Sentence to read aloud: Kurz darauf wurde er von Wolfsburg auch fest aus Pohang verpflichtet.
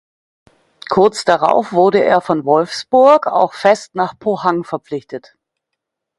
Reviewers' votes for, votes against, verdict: 0, 2, rejected